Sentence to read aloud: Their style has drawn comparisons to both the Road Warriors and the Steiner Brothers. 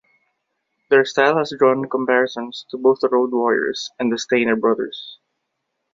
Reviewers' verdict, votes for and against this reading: accepted, 2, 0